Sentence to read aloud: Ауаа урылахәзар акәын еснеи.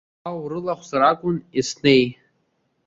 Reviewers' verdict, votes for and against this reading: rejected, 1, 2